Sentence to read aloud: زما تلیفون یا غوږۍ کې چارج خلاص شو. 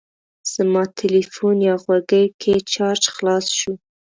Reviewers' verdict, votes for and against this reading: accepted, 2, 0